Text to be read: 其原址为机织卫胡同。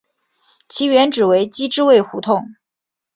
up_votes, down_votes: 3, 0